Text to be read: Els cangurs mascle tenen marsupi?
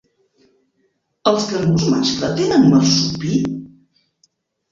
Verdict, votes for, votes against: accepted, 2, 0